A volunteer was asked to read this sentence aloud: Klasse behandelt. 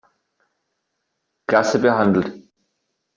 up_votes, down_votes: 3, 0